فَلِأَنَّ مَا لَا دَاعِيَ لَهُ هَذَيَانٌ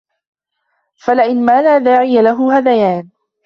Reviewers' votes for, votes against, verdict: 0, 2, rejected